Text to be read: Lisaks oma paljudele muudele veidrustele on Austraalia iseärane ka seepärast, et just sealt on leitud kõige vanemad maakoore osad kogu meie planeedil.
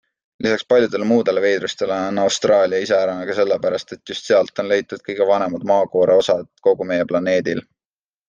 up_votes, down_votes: 1, 2